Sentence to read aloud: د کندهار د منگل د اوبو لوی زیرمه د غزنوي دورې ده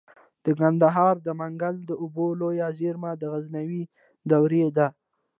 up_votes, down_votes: 2, 0